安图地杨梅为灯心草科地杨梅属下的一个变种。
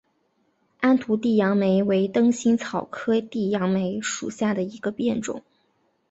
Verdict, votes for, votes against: accepted, 6, 1